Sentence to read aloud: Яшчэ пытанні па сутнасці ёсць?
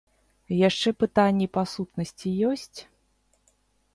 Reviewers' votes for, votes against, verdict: 2, 0, accepted